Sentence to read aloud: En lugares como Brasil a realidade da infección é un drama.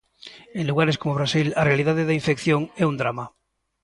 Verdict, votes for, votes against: rejected, 1, 2